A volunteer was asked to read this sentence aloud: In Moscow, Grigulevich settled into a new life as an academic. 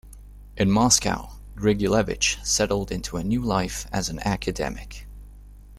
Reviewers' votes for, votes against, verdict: 2, 0, accepted